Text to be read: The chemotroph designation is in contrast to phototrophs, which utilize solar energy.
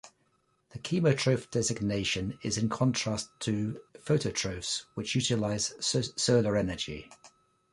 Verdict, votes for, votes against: rejected, 1, 2